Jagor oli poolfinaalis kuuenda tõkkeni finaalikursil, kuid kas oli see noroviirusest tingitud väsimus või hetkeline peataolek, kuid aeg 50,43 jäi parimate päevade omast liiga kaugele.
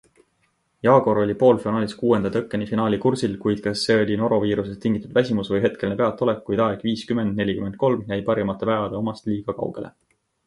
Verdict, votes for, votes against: rejected, 0, 2